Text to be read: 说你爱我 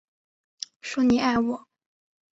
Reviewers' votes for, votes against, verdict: 5, 0, accepted